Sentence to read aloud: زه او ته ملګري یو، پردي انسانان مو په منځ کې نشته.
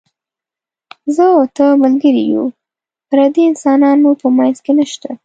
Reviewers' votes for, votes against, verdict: 2, 0, accepted